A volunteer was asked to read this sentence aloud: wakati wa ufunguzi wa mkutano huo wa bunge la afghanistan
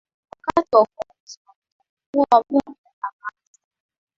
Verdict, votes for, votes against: rejected, 0, 2